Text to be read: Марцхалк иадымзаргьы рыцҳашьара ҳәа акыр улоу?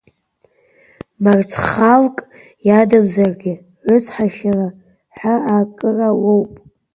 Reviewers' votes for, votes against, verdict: 0, 2, rejected